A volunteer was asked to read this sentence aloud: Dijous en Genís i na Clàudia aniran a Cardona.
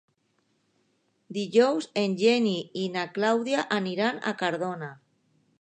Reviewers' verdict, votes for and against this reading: rejected, 0, 2